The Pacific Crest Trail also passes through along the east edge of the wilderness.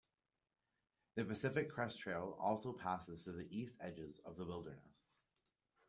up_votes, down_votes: 1, 2